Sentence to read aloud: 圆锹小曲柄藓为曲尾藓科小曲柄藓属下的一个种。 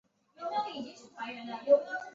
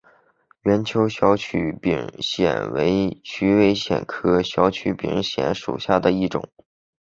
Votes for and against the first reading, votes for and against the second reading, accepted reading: 1, 3, 6, 1, second